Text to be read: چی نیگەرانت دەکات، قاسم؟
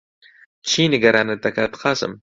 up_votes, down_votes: 2, 0